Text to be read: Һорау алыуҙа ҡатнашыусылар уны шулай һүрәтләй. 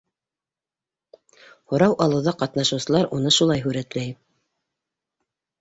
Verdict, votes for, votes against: accepted, 3, 0